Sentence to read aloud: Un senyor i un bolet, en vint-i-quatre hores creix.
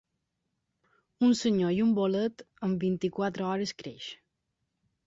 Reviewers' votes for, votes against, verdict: 3, 0, accepted